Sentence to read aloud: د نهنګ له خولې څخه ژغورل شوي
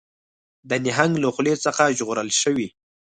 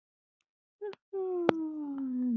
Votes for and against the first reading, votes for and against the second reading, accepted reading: 4, 0, 0, 2, first